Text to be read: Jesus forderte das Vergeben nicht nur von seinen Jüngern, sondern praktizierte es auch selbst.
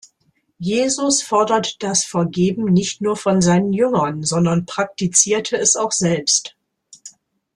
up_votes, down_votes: 0, 2